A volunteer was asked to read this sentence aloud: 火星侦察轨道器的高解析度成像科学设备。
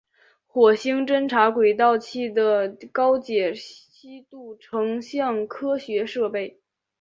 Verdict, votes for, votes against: accepted, 3, 2